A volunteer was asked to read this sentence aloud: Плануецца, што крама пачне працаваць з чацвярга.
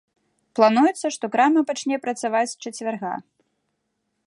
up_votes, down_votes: 2, 0